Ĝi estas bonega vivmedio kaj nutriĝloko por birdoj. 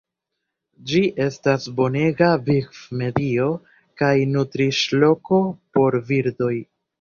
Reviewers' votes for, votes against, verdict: 2, 0, accepted